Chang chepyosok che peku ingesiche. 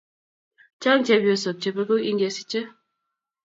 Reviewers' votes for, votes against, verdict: 2, 0, accepted